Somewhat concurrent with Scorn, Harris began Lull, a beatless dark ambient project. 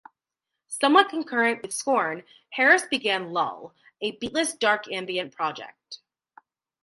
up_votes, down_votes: 2, 0